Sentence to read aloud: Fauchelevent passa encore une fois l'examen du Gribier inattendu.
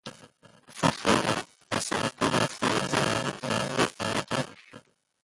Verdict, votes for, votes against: rejected, 1, 2